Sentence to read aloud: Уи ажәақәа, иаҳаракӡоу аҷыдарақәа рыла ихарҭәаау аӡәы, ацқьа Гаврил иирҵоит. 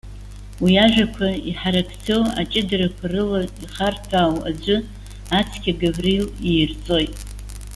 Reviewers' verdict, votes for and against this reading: accepted, 2, 1